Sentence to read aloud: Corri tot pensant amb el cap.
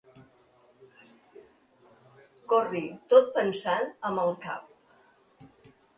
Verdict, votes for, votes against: accepted, 2, 0